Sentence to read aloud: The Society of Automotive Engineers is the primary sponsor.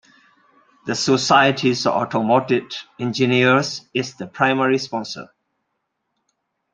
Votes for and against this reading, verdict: 2, 1, accepted